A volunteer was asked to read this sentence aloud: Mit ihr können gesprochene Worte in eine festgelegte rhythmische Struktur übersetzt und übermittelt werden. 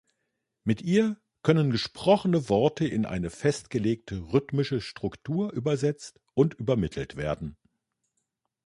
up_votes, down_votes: 2, 0